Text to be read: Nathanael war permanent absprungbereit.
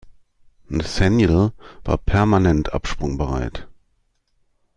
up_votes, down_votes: 2, 1